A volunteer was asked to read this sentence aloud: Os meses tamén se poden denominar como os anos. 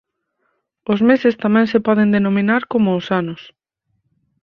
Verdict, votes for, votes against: accepted, 6, 2